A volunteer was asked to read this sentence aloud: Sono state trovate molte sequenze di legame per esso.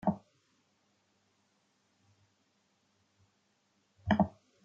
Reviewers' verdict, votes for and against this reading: rejected, 0, 2